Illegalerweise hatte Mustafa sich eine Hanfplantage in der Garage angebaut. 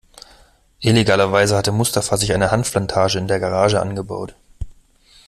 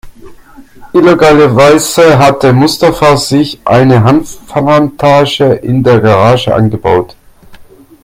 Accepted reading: first